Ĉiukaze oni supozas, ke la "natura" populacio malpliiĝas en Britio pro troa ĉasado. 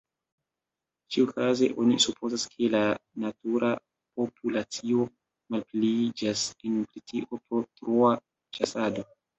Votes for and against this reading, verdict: 2, 1, accepted